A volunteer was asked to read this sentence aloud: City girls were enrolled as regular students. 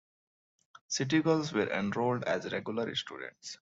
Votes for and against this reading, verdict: 2, 0, accepted